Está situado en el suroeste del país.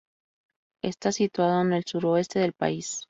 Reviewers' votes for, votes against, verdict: 2, 0, accepted